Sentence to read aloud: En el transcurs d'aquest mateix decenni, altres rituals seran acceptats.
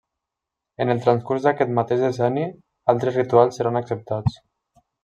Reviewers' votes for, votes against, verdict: 2, 0, accepted